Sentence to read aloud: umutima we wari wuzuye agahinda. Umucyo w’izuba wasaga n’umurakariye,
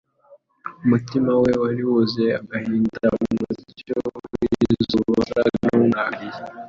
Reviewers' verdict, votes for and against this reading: accepted, 2, 1